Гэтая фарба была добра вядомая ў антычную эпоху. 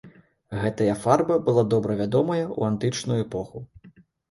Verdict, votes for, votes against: accepted, 2, 0